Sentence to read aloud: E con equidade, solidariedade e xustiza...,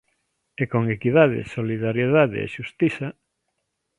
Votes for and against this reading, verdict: 2, 0, accepted